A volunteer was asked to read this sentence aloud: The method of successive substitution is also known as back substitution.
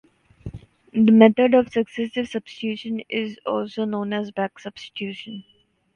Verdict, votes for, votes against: accepted, 2, 0